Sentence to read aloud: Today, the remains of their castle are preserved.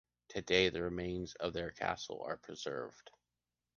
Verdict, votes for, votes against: accepted, 2, 0